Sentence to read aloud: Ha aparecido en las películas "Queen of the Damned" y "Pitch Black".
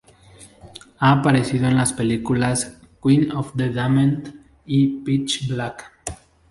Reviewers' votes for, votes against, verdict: 4, 0, accepted